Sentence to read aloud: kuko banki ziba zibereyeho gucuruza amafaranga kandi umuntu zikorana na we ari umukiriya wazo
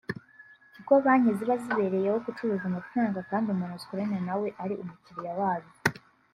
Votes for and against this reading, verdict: 2, 0, accepted